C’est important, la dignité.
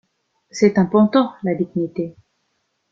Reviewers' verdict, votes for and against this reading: rejected, 0, 2